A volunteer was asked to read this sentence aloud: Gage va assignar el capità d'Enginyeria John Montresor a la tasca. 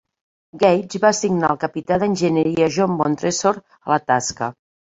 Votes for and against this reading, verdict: 2, 0, accepted